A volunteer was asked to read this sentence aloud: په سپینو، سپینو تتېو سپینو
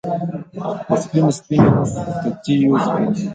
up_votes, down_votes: 2, 1